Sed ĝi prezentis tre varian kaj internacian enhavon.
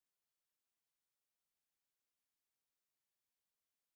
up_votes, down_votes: 0, 2